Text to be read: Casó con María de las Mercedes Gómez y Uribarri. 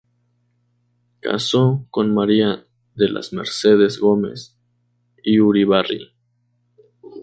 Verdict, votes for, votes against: rejected, 2, 2